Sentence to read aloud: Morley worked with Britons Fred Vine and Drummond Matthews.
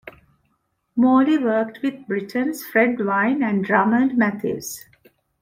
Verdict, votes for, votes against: accepted, 2, 0